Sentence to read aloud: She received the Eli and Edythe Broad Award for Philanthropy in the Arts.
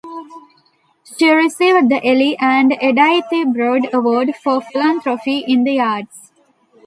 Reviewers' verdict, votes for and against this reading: rejected, 1, 2